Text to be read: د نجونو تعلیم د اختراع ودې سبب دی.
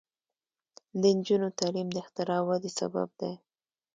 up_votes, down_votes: 2, 1